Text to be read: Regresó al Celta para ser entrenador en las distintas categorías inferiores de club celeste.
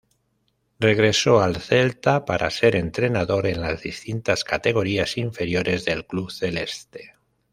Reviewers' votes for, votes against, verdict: 0, 2, rejected